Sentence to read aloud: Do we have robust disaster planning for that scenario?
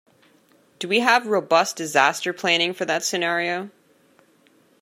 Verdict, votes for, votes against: accepted, 2, 0